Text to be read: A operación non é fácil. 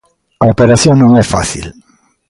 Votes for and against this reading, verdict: 2, 0, accepted